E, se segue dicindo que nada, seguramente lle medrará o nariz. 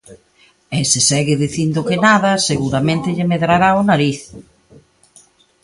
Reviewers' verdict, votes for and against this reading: accepted, 2, 0